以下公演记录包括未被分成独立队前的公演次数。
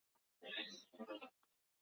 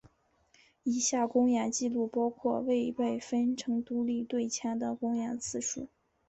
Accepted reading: second